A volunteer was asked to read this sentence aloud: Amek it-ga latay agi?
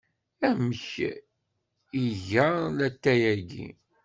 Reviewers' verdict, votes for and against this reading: rejected, 1, 2